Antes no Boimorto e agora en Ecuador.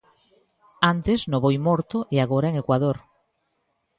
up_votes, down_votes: 2, 0